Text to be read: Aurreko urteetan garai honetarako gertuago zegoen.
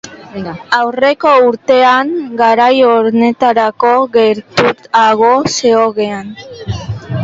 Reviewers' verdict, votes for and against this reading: rejected, 0, 2